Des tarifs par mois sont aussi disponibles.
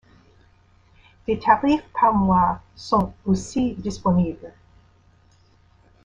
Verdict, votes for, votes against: rejected, 1, 2